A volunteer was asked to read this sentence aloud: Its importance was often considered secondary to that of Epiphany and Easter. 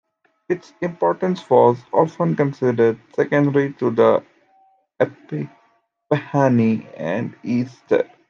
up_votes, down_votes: 0, 2